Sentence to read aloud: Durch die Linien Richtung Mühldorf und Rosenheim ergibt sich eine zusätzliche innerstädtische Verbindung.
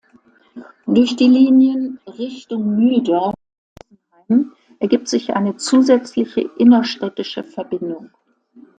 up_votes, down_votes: 0, 2